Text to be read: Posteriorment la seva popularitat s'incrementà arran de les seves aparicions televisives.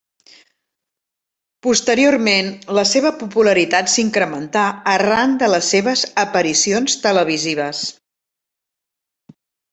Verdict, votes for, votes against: accepted, 3, 0